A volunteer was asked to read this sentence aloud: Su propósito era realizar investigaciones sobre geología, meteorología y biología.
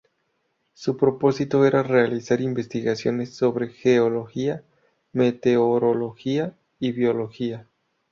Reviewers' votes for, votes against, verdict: 2, 0, accepted